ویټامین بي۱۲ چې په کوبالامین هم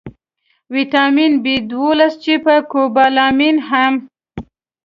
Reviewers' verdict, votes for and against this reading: rejected, 0, 2